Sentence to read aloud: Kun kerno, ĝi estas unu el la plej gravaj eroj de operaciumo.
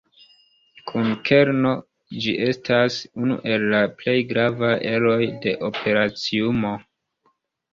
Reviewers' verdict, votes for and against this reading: accepted, 2, 0